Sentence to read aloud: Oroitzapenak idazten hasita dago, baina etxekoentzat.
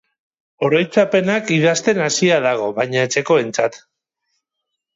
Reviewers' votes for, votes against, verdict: 0, 4, rejected